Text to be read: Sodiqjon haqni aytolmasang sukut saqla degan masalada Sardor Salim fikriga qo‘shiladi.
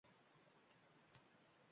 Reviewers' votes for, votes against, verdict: 1, 2, rejected